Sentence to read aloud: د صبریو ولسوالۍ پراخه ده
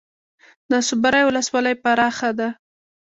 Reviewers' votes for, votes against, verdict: 1, 2, rejected